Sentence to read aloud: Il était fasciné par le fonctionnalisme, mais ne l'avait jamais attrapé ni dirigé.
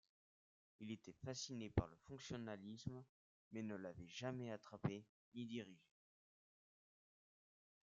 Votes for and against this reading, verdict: 2, 0, accepted